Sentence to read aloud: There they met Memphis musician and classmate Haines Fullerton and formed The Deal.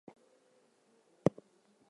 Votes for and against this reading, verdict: 0, 4, rejected